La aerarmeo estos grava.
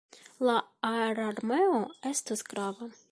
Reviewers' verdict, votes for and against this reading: rejected, 0, 2